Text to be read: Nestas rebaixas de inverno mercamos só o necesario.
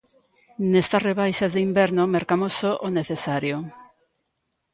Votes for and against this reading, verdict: 2, 0, accepted